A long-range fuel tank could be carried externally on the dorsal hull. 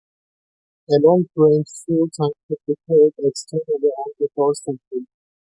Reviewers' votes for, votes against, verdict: 2, 0, accepted